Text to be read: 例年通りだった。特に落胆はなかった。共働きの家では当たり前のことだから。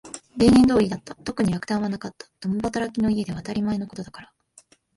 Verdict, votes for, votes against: accepted, 3, 0